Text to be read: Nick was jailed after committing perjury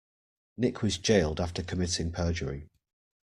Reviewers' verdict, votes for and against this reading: accepted, 2, 0